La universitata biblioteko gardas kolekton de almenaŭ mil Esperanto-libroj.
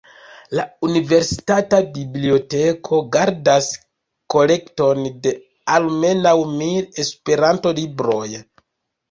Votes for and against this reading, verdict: 2, 0, accepted